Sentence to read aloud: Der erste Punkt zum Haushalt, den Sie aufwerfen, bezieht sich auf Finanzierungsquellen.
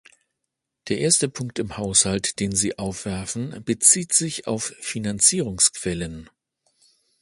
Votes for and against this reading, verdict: 0, 2, rejected